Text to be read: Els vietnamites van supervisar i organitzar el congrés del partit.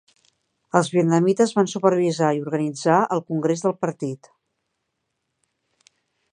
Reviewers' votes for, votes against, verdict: 5, 0, accepted